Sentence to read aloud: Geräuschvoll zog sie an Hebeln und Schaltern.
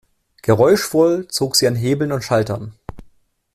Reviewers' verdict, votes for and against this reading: accepted, 2, 0